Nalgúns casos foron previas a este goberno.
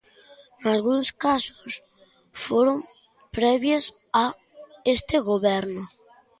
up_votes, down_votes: 1, 2